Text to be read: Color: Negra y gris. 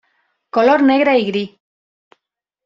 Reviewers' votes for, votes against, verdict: 2, 0, accepted